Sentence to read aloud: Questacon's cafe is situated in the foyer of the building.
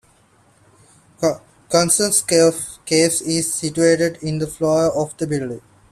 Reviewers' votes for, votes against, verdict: 0, 2, rejected